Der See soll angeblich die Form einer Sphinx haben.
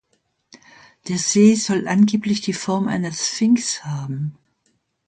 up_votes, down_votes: 2, 0